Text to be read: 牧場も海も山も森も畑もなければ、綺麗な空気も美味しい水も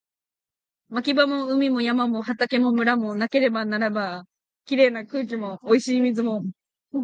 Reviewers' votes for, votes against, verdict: 0, 2, rejected